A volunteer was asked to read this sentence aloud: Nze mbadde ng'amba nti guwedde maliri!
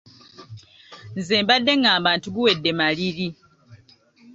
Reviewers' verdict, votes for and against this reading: rejected, 0, 2